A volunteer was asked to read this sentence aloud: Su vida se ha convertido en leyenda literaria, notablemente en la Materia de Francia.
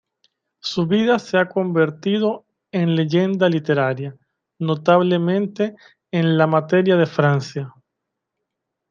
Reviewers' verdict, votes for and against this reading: accepted, 2, 0